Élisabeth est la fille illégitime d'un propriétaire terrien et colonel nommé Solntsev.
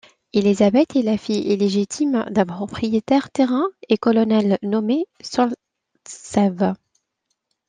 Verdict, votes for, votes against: rejected, 0, 2